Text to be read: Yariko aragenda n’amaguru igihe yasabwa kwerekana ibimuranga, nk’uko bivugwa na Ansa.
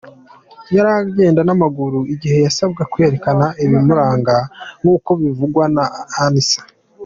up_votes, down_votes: 1, 2